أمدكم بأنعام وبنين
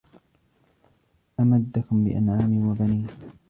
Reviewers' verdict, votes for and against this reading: rejected, 0, 2